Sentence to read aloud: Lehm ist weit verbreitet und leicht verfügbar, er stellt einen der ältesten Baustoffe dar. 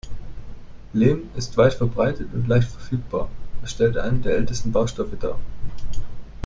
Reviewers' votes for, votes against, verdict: 0, 2, rejected